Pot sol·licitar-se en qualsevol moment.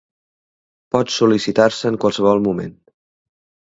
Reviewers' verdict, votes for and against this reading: accepted, 2, 0